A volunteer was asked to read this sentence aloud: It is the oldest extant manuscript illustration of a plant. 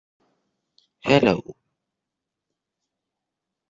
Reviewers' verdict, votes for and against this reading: rejected, 1, 2